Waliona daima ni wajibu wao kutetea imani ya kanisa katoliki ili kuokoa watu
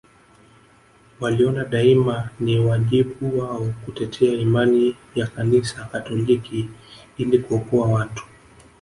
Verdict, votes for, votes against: accepted, 2, 0